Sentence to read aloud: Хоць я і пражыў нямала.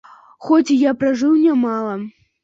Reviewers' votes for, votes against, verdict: 2, 1, accepted